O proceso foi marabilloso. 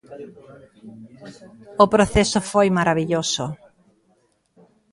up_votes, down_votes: 0, 2